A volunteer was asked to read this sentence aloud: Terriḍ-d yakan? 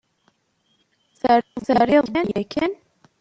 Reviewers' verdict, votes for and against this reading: rejected, 0, 2